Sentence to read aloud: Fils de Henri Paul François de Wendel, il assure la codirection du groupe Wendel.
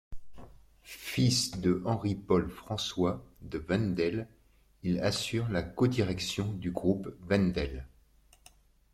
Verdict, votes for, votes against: accepted, 2, 0